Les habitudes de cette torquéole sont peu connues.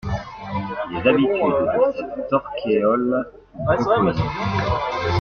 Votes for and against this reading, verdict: 1, 2, rejected